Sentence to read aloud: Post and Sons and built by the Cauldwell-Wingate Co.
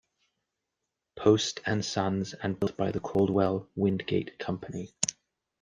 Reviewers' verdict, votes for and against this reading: rejected, 0, 2